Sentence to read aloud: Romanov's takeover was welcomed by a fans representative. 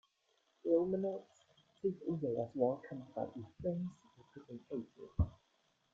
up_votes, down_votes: 1, 2